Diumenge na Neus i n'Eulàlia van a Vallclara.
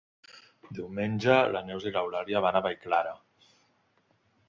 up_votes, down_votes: 1, 2